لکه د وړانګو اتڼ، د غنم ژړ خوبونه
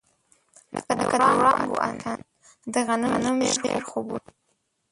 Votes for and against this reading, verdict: 0, 2, rejected